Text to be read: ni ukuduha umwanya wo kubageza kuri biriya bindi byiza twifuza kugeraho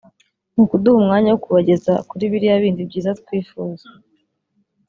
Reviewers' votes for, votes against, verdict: 0, 2, rejected